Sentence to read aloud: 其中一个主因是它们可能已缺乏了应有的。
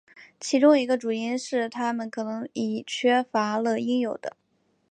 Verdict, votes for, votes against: accepted, 3, 1